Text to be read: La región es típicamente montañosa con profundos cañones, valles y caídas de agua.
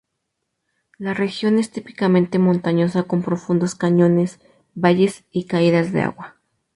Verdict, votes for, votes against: accepted, 4, 0